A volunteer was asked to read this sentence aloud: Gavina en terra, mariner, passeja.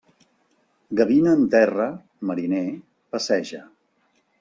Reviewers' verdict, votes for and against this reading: accepted, 3, 0